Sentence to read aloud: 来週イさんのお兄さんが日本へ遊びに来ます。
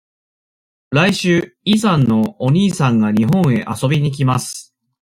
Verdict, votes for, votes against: accepted, 2, 0